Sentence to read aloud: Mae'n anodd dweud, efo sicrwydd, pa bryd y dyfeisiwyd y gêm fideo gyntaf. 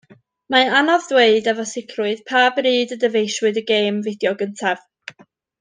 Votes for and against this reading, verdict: 2, 0, accepted